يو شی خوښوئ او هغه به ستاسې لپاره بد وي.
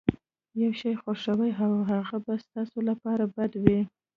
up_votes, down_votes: 2, 0